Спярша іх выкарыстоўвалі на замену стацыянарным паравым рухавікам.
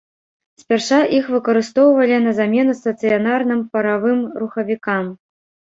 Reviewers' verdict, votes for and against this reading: rejected, 1, 3